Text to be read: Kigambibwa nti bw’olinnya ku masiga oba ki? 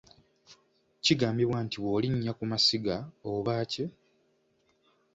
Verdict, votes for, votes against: accepted, 2, 0